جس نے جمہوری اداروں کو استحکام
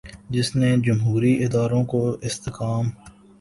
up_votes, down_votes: 2, 0